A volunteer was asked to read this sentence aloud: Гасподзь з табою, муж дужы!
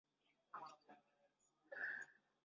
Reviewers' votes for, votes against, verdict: 0, 2, rejected